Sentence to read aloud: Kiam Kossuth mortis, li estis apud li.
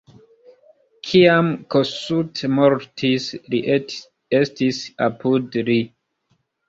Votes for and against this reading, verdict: 1, 2, rejected